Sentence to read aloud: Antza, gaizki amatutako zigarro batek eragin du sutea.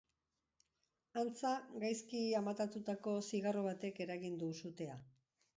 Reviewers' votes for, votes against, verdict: 1, 2, rejected